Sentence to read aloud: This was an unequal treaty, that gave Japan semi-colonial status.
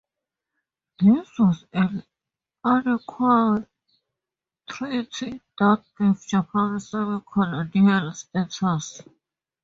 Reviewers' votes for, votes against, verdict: 0, 4, rejected